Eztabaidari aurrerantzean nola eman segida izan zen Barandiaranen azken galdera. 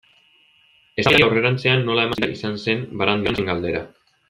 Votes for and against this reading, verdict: 0, 2, rejected